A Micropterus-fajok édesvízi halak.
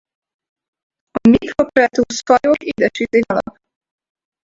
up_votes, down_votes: 0, 4